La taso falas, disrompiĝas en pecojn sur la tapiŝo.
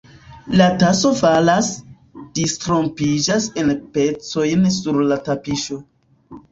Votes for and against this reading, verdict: 2, 0, accepted